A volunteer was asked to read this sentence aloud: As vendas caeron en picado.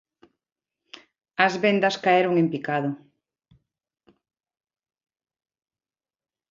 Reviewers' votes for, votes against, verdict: 2, 0, accepted